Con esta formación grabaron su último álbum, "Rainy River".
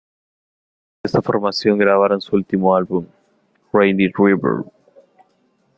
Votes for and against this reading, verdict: 1, 2, rejected